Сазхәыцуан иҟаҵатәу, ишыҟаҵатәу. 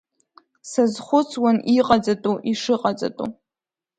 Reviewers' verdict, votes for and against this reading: accepted, 2, 0